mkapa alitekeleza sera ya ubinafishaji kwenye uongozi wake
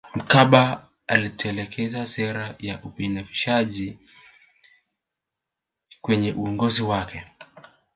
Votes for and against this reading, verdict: 2, 1, accepted